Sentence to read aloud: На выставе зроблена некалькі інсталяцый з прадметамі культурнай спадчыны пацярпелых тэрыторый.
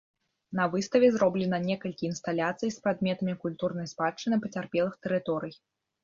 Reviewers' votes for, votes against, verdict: 0, 2, rejected